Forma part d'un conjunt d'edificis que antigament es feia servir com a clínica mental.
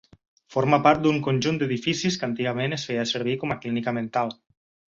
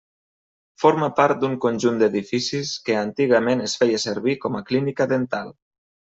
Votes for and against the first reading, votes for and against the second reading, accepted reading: 8, 0, 0, 2, first